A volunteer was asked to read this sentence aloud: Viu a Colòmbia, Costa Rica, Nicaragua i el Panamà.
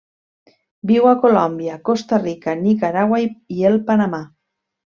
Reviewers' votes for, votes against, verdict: 1, 2, rejected